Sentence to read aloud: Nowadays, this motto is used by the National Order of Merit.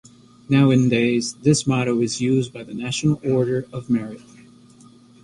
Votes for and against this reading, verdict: 0, 2, rejected